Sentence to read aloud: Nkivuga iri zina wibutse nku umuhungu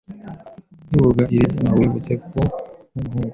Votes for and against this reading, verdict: 0, 2, rejected